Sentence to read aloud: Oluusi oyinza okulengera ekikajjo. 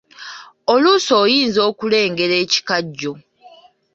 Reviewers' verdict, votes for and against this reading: accepted, 2, 0